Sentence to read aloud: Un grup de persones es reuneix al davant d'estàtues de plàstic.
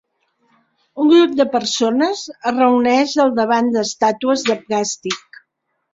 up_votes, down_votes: 2, 0